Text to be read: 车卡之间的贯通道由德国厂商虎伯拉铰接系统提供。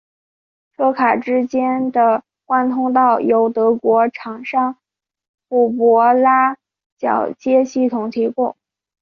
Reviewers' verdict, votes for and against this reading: accepted, 2, 0